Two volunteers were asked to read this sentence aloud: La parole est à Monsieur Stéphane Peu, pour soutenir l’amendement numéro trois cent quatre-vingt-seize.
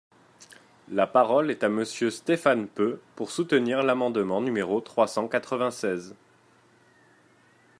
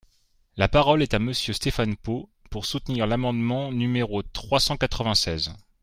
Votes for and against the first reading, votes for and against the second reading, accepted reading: 2, 0, 0, 2, first